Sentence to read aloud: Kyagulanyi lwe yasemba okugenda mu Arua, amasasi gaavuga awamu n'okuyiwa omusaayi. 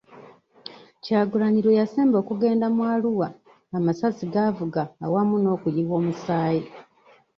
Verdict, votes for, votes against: accepted, 2, 0